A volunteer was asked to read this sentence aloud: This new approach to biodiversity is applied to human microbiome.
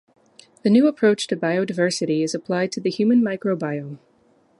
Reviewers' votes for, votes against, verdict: 0, 2, rejected